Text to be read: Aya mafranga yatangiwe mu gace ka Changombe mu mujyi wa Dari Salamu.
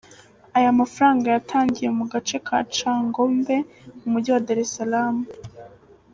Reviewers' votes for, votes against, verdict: 2, 0, accepted